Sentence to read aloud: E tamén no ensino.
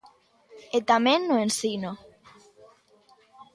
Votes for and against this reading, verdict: 2, 0, accepted